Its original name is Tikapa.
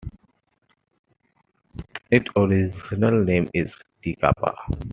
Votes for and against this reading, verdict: 0, 2, rejected